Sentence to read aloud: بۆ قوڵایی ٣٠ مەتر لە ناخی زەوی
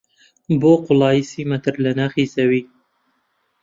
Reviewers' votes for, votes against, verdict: 0, 2, rejected